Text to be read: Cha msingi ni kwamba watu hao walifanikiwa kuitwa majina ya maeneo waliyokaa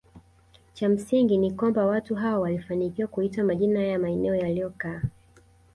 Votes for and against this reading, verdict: 0, 2, rejected